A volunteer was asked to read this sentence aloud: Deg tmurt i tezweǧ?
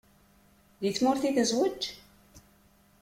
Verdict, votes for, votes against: accepted, 2, 0